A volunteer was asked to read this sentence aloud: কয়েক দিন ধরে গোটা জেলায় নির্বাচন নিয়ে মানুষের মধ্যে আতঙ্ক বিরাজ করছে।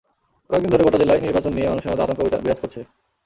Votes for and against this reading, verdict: 2, 0, accepted